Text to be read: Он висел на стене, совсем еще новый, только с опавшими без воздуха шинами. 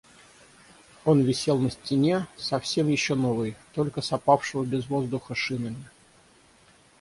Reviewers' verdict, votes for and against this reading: rejected, 0, 6